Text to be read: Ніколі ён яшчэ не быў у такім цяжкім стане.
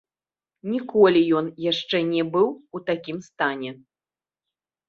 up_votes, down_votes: 0, 2